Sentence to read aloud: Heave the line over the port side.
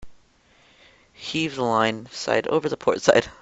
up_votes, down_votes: 0, 2